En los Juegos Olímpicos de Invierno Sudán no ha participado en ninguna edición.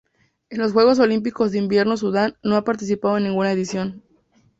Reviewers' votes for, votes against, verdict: 2, 0, accepted